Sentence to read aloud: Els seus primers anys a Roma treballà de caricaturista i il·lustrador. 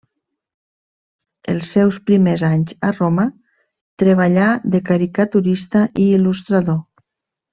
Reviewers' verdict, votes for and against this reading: accepted, 3, 0